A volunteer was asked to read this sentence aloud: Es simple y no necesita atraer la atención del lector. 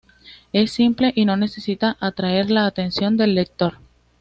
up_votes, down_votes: 2, 0